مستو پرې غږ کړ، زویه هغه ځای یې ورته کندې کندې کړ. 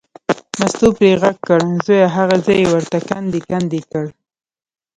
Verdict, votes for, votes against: rejected, 1, 2